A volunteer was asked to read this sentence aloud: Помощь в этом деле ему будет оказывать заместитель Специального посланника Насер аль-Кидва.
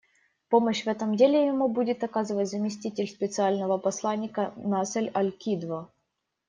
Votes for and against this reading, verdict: 1, 2, rejected